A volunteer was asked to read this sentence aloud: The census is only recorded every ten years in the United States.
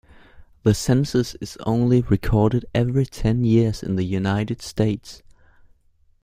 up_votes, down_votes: 2, 0